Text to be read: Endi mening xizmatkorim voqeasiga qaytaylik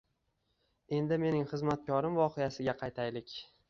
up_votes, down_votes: 2, 0